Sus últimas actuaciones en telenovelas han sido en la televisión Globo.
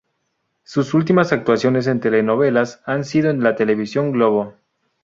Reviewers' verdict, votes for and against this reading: accepted, 2, 0